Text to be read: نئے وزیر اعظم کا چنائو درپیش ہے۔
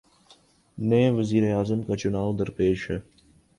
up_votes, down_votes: 3, 0